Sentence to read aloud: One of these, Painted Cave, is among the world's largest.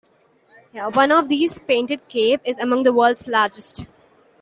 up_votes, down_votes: 2, 1